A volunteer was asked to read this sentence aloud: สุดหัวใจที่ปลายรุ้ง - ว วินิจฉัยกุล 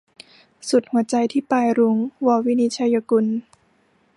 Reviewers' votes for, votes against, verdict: 0, 2, rejected